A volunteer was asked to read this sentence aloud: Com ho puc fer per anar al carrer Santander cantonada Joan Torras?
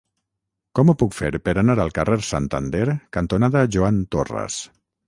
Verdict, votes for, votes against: rejected, 0, 3